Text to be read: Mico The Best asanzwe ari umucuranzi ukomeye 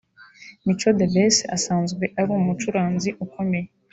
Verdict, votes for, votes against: accepted, 2, 0